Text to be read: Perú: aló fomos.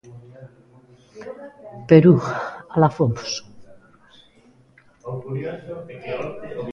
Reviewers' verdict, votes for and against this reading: rejected, 0, 2